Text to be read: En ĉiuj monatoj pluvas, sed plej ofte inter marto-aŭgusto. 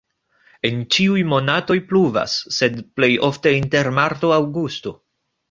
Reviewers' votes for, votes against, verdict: 3, 1, accepted